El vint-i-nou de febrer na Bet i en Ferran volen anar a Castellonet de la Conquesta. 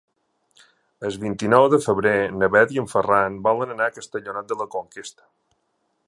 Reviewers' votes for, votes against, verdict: 0, 2, rejected